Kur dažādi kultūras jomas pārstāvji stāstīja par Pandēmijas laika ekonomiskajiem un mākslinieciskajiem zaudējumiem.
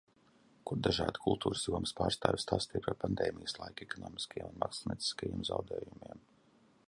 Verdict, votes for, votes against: accepted, 2, 0